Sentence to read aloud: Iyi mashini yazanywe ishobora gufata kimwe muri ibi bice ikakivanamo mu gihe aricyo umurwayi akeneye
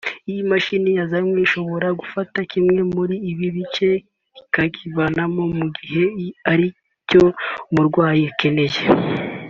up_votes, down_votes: 2, 0